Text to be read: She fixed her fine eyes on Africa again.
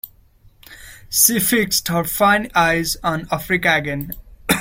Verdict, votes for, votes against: accepted, 2, 0